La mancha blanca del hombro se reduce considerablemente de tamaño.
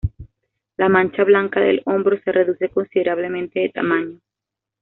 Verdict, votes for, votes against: accepted, 2, 0